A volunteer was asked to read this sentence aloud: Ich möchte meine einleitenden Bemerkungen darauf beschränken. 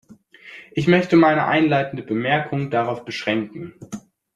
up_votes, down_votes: 2, 0